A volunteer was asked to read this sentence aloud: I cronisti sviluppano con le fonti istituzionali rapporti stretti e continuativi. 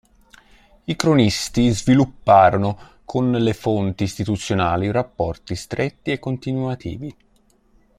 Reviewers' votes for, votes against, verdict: 1, 2, rejected